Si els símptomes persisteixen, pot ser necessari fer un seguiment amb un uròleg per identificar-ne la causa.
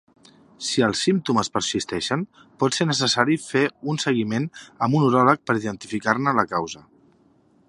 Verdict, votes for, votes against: accepted, 5, 1